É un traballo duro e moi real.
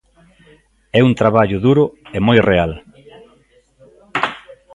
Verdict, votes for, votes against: rejected, 0, 2